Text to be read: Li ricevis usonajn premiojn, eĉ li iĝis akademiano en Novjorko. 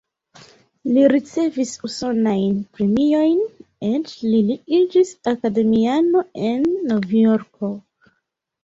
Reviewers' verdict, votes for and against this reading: accepted, 2, 1